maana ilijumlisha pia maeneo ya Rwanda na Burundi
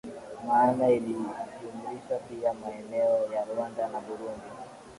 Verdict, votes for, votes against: accepted, 2, 0